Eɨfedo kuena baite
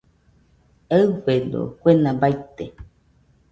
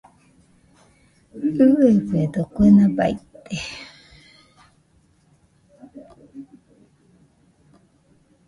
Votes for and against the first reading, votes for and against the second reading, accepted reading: 2, 0, 0, 2, first